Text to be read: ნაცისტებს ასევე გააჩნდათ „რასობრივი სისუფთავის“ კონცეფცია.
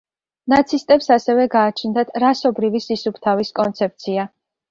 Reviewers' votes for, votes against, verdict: 2, 0, accepted